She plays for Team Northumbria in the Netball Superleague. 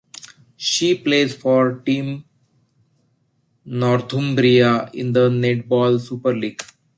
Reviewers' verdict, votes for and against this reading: accepted, 2, 1